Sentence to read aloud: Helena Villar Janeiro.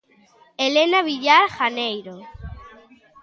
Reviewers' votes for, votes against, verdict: 2, 0, accepted